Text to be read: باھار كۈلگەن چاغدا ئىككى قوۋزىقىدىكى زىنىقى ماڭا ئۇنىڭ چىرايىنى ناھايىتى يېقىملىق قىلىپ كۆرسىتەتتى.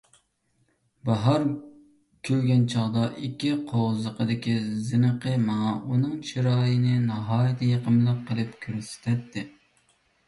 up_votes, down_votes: 2, 1